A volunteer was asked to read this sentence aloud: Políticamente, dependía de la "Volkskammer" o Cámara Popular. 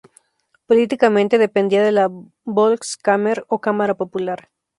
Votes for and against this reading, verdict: 0, 2, rejected